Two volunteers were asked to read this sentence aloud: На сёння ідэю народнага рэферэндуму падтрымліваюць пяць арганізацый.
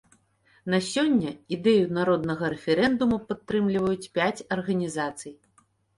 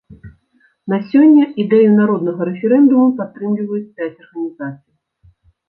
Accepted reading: first